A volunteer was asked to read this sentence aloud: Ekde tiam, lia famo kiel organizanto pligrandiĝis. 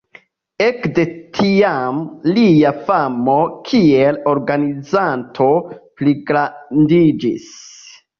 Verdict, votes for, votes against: accepted, 2, 0